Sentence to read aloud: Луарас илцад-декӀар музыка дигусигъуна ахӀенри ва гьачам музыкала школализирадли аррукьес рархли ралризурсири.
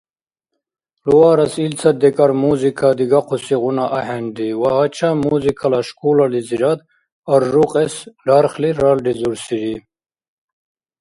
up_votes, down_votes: 1, 2